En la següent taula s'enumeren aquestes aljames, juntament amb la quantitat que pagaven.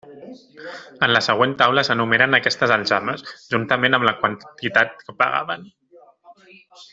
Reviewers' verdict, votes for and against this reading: rejected, 1, 2